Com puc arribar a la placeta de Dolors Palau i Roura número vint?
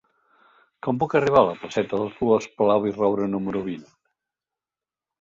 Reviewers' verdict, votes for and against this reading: accepted, 2, 1